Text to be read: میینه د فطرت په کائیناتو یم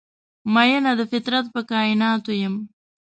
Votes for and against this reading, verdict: 2, 0, accepted